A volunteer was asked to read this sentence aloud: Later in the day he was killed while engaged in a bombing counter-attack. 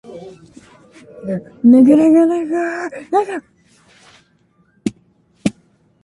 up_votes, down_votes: 0, 2